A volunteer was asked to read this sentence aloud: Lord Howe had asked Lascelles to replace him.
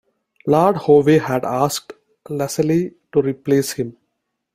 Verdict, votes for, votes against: rejected, 1, 2